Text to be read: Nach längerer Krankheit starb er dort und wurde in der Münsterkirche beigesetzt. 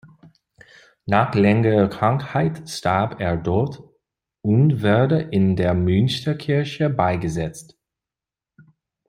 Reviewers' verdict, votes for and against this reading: accepted, 2, 0